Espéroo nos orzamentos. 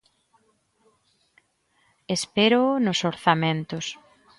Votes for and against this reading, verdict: 2, 0, accepted